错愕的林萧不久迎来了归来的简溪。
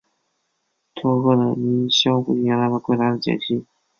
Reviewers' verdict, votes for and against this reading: rejected, 0, 5